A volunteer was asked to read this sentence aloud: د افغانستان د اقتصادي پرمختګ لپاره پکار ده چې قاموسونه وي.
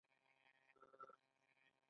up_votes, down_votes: 0, 2